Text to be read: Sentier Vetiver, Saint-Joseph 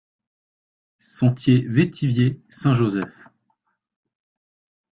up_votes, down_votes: 0, 2